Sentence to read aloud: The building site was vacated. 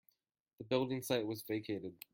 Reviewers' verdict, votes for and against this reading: accepted, 2, 0